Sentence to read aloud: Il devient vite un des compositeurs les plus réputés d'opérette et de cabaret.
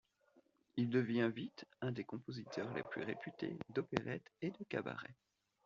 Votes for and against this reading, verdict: 2, 1, accepted